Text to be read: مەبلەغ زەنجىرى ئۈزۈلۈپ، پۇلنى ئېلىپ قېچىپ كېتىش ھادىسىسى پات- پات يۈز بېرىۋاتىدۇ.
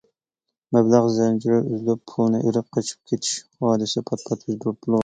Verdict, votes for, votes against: rejected, 0, 2